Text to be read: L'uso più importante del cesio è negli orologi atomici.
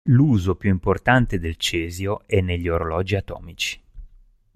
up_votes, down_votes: 2, 0